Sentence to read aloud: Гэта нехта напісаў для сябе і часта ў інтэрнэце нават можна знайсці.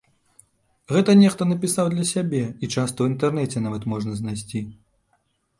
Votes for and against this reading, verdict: 2, 0, accepted